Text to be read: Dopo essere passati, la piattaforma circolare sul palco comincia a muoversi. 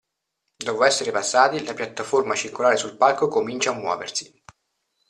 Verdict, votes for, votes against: accepted, 2, 0